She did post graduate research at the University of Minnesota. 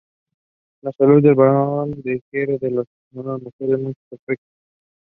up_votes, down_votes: 0, 2